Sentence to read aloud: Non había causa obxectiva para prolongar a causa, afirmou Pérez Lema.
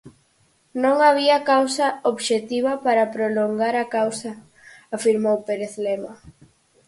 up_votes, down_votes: 4, 0